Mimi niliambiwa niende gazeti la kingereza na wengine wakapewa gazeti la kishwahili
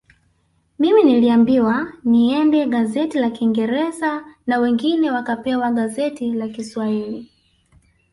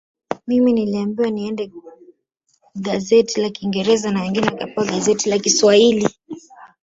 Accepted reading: first